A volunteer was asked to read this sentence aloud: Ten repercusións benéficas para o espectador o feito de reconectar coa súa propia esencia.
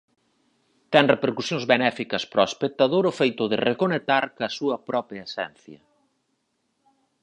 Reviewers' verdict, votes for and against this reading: rejected, 0, 4